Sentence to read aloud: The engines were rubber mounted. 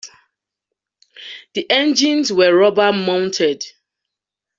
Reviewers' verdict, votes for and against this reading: accepted, 2, 0